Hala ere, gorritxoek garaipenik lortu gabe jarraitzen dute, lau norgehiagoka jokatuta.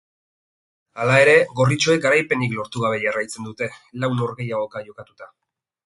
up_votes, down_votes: 4, 0